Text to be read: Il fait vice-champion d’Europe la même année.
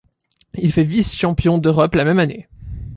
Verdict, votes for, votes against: accepted, 2, 0